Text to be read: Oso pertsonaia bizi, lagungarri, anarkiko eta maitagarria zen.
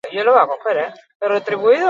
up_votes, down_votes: 0, 4